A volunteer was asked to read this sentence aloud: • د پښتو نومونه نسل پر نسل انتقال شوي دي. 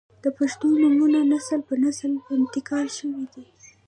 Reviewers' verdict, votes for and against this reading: accepted, 2, 0